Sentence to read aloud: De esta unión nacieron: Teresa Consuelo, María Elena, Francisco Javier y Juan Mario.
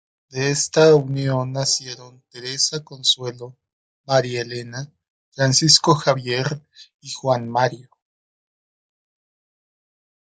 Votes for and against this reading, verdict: 1, 2, rejected